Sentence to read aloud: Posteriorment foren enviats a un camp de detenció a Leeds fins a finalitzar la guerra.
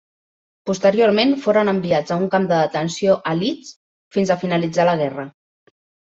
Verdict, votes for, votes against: accepted, 2, 0